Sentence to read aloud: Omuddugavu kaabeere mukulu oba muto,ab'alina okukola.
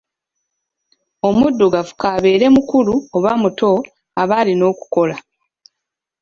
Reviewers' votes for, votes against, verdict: 3, 0, accepted